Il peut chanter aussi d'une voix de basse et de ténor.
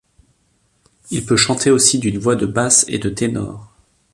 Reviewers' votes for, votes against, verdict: 2, 0, accepted